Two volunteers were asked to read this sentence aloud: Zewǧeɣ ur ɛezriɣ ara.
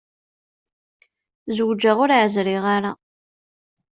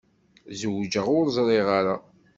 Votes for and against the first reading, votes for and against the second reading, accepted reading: 2, 0, 1, 2, first